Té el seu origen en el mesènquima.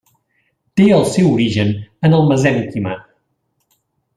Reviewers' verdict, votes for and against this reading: accepted, 2, 0